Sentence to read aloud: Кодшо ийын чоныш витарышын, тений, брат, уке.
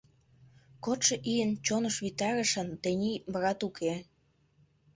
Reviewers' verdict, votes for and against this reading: rejected, 1, 2